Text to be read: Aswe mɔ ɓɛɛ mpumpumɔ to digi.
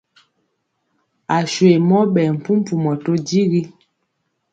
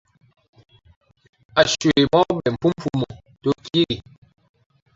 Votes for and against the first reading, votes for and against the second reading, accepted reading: 2, 0, 0, 2, first